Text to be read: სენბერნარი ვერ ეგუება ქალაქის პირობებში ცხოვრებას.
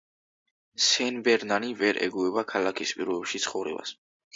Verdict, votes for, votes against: accepted, 2, 0